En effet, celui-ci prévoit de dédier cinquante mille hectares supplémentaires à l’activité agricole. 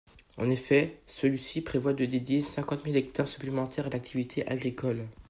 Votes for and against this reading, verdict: 2, 0, accepted